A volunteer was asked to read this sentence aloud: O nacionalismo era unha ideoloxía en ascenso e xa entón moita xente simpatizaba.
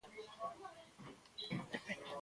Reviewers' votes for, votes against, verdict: 0, 2, rejected